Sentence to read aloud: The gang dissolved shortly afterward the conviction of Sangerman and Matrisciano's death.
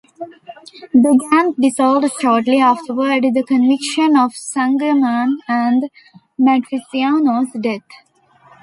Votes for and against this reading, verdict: 1, 2, rejected